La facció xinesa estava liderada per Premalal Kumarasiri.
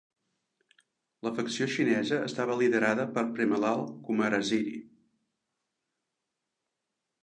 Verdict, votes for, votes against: accepted, 2, 0